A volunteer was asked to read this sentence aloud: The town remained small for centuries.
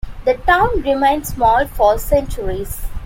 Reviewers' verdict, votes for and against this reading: accepted, 2, 1